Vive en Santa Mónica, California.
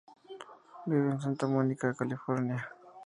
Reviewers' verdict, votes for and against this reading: accepted, 4, 0